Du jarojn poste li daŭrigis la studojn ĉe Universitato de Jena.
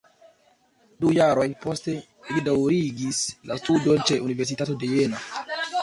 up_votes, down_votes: 1, 3